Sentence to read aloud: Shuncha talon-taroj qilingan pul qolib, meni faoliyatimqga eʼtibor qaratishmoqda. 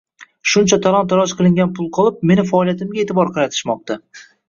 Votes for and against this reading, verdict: 1, 2, rejected